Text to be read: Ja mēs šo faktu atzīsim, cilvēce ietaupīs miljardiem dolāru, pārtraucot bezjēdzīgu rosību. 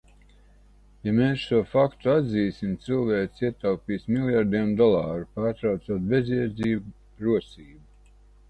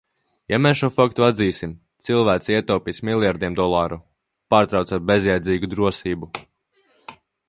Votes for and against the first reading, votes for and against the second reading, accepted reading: 2, 0, 0, 2, first